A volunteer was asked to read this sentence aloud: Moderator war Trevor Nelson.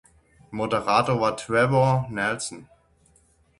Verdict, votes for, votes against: accepted, 6, 0